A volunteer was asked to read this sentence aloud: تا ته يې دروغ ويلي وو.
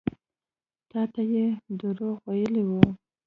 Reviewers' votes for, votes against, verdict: 2, 0, accepted